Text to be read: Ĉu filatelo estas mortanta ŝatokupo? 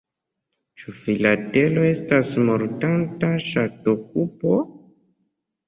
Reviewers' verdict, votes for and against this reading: rejected, 0, 2